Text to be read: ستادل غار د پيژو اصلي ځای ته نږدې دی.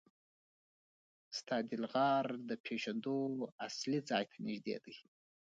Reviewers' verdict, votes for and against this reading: rejected, 0, 2